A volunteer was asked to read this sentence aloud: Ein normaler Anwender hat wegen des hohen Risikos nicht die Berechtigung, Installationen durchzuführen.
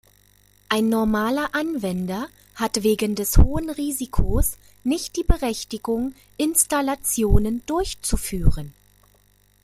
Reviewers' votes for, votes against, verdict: 2, 0, accepted